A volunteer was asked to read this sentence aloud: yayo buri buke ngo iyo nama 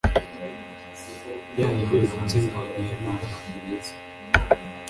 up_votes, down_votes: 0, 2